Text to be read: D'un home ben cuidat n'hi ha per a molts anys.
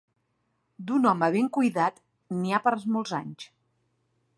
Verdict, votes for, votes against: rejected, 0, 2